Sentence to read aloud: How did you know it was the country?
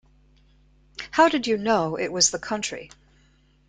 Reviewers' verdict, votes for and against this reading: accepted, 2, 0